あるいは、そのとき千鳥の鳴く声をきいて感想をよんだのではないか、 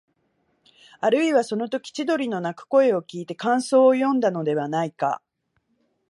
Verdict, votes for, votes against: accepted, 2, 0